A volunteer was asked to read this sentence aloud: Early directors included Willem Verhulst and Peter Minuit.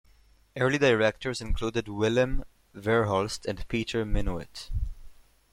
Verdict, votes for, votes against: accepted, 2, 0